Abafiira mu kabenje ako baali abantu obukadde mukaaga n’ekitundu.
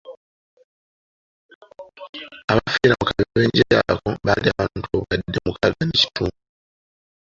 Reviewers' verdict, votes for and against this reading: rejected, 1, 2